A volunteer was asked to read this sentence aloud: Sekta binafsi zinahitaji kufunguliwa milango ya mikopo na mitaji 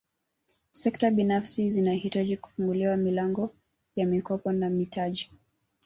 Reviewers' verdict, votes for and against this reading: accepted, 2, 1